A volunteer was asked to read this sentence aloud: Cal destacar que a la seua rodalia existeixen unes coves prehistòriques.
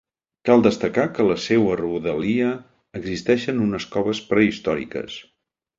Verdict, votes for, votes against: rejected, 0, 2